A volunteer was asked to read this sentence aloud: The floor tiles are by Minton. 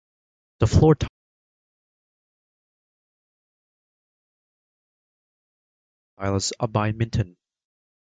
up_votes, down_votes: 0, 2